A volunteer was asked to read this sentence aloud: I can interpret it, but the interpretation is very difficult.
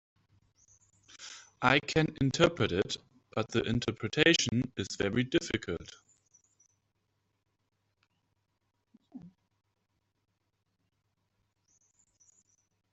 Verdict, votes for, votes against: rejected, 1, 2